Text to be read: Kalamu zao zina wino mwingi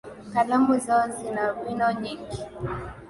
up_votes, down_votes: 12, 11